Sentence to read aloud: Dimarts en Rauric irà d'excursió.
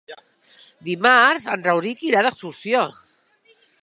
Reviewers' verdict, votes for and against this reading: accepted, 5, 0